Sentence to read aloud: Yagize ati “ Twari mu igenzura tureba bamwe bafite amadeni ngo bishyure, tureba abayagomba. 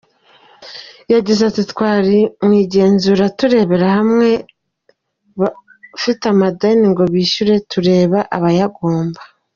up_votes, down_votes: 2, 0